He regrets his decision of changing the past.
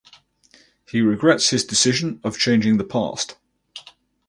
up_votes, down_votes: 4, 0